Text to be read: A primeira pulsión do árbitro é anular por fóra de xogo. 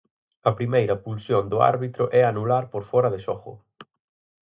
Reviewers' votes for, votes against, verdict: 4, 0, accepted